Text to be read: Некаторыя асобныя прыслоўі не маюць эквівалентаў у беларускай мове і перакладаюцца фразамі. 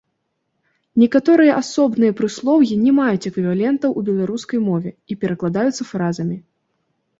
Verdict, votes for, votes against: accepted, 2, 0